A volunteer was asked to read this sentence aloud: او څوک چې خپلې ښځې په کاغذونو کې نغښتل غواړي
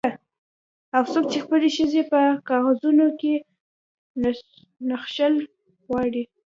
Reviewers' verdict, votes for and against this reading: rejected, 2, 3